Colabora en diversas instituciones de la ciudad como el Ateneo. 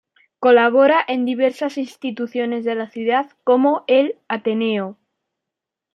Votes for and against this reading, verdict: 2, 1, accepted